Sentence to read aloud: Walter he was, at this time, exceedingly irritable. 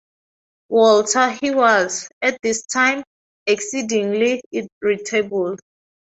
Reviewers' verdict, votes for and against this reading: accepted, 4, 0